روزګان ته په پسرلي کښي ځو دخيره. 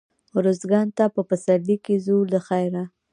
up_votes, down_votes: 0, 2